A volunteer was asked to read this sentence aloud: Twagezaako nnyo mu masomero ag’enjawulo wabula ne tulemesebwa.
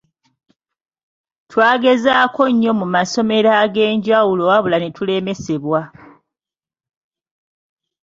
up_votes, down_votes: 1, 2